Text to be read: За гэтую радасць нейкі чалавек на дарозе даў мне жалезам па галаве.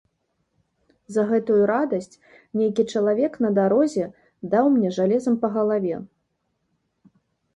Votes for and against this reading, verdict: 2, 0, accepted